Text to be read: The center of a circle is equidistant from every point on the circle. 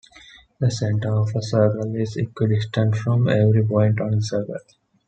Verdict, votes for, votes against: accepted, 2, 1